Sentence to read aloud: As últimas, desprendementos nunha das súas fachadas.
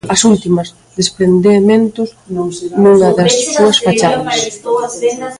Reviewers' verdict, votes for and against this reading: rejected, 0, 2